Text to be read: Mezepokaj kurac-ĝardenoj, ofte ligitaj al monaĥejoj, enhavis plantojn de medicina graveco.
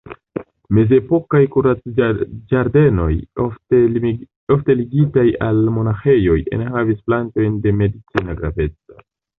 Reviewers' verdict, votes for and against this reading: rejected, 0, 2